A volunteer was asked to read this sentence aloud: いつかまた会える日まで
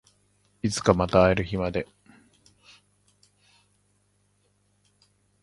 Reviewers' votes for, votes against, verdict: 2, 0, accepted